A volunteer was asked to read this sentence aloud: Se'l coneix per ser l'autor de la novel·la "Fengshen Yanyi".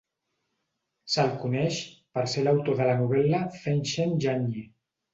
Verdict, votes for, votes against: accepted, 6, 0